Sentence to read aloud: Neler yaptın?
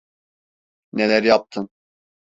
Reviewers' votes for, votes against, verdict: 2, 0, accepted